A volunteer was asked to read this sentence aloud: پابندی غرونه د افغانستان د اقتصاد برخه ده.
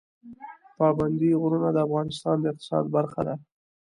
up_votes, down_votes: 2, 0